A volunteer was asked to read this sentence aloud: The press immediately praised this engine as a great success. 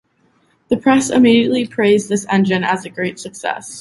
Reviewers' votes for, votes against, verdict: 2, 0, accepted